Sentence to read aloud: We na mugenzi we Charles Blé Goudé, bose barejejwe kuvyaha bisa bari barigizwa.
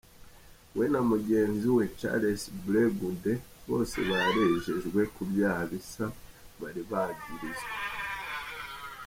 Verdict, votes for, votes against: accepted, 2, 0